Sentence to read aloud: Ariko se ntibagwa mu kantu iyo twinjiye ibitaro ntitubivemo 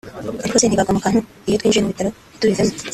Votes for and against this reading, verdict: 0, 3, rejected